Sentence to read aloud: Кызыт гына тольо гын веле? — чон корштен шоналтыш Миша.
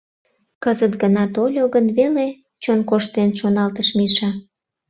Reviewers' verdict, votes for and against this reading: accepted, 2, 0